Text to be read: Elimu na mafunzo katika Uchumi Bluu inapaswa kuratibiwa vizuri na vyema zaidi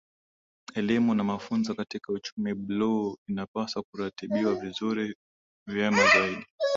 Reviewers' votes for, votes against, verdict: 2, 0, accepted